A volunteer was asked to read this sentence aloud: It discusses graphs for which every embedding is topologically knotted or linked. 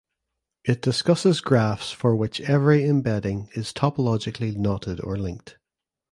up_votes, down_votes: 2, 0